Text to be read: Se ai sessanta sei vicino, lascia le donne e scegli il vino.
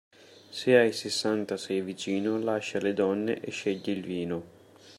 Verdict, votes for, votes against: accepted, 2, 0